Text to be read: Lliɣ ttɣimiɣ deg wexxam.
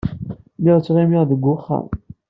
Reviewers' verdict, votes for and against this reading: accepted, 2, 1